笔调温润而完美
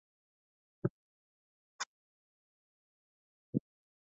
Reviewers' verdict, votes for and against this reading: rejected, 0, 2